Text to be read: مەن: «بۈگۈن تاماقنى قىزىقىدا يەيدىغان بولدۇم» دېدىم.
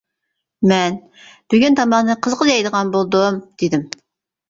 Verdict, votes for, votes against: rejected, 0, 2